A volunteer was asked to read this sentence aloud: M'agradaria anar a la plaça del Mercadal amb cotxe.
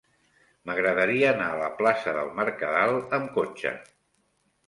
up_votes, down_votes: 3, 0